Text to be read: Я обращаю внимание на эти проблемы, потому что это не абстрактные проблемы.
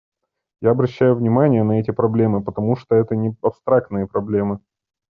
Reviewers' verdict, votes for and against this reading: accepted, 2, 0